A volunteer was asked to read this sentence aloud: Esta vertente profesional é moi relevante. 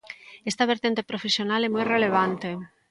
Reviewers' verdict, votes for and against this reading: accepted, 2, 0